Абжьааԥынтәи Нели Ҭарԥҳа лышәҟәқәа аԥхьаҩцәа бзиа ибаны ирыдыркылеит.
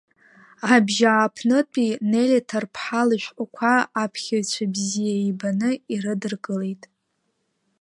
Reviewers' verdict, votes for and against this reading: rejected, 0, 2